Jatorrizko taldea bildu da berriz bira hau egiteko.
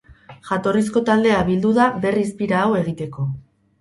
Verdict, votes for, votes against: rejected, 2, 2